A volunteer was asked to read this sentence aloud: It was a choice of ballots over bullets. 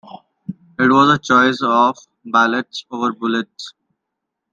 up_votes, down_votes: 1, 2